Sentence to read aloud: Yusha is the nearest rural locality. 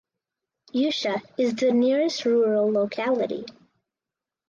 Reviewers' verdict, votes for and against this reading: accepted, 4, 0